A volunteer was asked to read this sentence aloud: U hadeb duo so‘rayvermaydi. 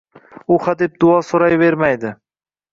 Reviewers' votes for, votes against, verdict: 2, 0, accepted